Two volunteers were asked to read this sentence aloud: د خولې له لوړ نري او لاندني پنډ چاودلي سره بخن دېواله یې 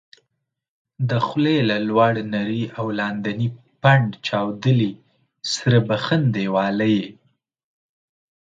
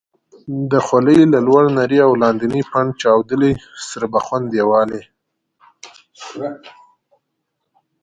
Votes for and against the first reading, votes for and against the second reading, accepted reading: 2, 0, 1, 2, first